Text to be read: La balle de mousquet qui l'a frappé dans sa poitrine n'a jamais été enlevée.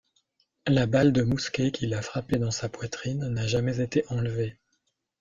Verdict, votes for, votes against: rejected, 0, 2